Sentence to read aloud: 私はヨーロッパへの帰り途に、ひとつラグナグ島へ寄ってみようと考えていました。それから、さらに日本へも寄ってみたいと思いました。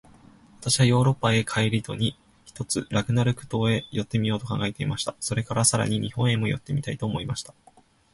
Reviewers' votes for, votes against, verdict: 2, 0, accepted